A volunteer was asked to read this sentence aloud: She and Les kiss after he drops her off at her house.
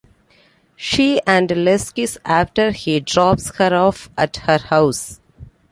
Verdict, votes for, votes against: accepted, 2, 0